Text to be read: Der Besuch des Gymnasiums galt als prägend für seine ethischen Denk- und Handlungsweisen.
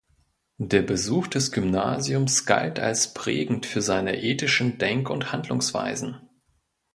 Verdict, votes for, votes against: accepted, 2, 0